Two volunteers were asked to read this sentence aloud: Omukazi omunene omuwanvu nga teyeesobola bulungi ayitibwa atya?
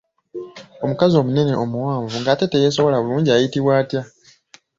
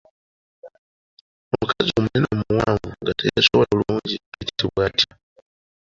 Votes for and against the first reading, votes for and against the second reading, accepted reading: 2, 0, 1, 2, first